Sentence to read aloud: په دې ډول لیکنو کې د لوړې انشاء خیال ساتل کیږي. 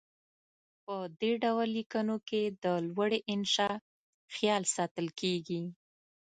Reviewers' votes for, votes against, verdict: 2, 0, accepted